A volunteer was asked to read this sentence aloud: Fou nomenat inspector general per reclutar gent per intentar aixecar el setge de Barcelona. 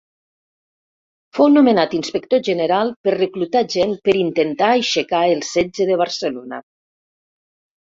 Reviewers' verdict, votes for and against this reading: accepted, 2, 0